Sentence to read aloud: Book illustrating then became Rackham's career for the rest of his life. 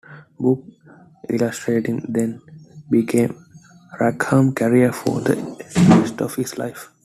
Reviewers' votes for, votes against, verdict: 0, 2, rejected